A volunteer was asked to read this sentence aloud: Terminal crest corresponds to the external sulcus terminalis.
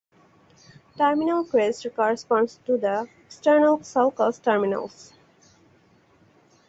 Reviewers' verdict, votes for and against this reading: rejected, 0, 4